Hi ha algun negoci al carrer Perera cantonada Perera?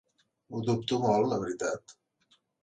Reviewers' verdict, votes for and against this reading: rejected, 0, 2